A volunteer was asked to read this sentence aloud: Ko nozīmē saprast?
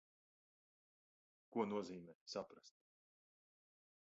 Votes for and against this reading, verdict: 1, 2, rejected